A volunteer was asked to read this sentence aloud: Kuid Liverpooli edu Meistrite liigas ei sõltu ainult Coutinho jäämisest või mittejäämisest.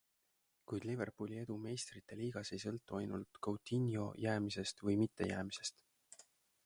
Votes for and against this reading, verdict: 1, 2, rejected